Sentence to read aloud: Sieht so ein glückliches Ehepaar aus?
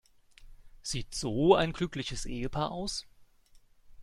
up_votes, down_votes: 2, 0